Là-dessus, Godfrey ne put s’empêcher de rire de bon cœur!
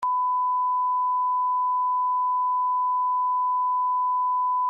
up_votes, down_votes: 0, 2